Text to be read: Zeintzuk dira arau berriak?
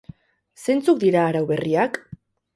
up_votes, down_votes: 2, 2